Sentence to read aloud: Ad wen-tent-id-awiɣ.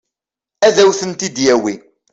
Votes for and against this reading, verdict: 0, 2, rejected